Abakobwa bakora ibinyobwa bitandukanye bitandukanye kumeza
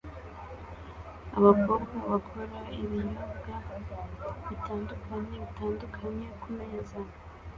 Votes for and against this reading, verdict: 2, 0, accepted